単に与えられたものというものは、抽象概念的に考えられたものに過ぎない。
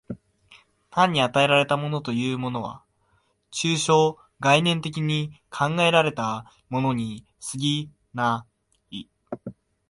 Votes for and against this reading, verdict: 2, 0, accepted